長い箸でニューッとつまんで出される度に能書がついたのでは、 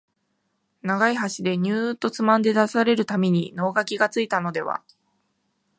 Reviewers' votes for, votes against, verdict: 7, 0, accepted